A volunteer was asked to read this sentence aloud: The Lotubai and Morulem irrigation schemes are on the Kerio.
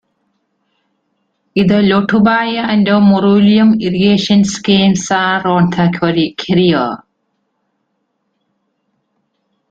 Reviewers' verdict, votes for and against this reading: rejected, 1, 2